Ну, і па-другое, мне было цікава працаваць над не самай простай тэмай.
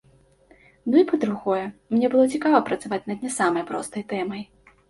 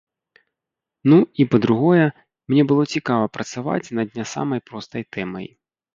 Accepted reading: first